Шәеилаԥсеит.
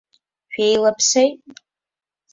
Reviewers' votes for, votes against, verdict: 1, 2, rejected